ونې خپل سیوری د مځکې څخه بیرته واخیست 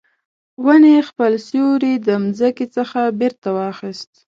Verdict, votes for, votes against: accepted, 2, 0